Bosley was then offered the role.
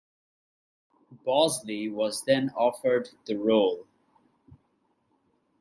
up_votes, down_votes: 2, 0